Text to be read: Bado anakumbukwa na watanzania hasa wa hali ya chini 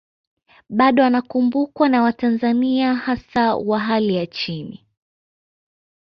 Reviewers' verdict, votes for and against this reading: accepted, 2, 0